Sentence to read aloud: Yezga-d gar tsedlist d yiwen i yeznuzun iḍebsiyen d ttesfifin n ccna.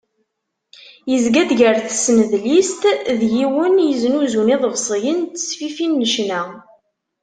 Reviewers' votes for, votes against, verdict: 1, 2, rejected